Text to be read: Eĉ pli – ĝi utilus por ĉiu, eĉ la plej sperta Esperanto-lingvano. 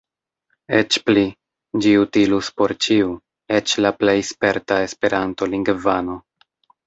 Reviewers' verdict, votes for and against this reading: accepted, 2, 0